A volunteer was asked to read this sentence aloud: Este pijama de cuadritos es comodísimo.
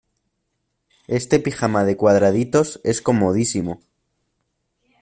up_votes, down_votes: 0, 2